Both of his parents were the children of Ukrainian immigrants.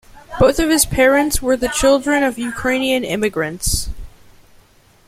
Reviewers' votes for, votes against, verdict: 2, 0, accepted